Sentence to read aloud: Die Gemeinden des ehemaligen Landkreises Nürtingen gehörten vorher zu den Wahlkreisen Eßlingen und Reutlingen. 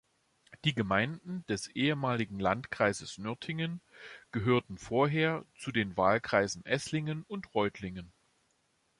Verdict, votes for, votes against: accepted, 2, 0